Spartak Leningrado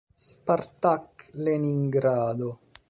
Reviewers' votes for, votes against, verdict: 2, 1, accepted